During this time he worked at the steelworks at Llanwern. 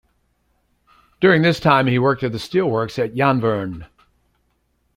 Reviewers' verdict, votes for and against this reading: rejected, 0, 2